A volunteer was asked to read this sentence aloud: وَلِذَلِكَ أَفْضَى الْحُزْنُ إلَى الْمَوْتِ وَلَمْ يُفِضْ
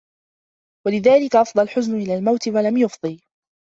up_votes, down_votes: 1, 2